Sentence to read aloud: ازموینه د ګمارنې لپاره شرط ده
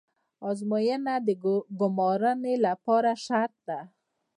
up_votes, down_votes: 1, 2